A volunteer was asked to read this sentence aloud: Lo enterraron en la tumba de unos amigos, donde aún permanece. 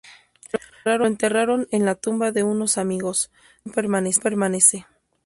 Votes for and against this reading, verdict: 0, 2, rejected